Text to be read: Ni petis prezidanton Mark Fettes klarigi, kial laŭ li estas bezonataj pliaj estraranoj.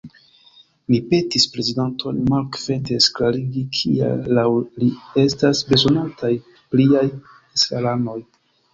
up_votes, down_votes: 1, 2